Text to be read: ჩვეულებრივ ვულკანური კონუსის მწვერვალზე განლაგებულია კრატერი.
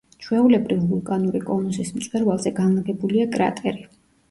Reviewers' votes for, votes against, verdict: 3, 1, accepted